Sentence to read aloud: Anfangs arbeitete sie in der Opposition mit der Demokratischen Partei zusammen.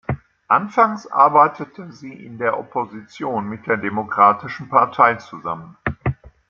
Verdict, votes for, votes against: rejected, 0, 2